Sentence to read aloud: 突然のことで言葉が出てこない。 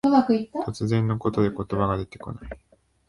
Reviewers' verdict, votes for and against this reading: rejected, 0, 2